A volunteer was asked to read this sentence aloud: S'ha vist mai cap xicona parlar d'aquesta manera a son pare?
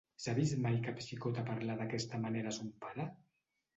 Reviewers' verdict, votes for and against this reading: rejected, 0, 2